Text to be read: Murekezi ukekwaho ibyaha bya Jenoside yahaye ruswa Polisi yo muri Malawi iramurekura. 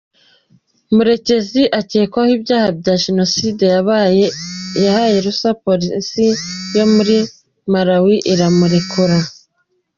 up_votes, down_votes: 1, 2